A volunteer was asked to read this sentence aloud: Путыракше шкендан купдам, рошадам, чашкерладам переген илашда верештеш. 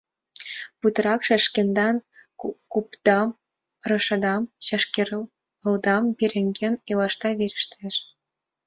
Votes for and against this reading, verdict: 0, 2, rejected